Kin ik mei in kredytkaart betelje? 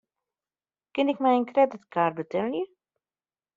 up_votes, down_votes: 1, 2